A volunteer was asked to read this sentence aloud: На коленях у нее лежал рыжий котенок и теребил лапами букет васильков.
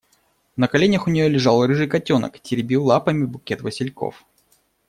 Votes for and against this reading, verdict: 0, 2, rejected